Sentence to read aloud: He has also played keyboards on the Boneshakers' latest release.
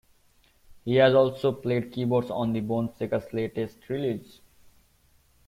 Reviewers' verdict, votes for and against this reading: accepted, 2, 1